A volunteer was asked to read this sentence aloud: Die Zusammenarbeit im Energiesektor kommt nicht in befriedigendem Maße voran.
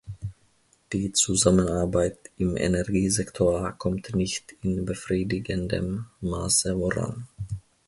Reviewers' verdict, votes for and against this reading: rejected, 0, 2